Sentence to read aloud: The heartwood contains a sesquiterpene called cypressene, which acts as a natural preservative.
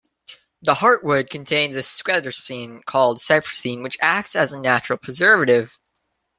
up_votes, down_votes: 0, 2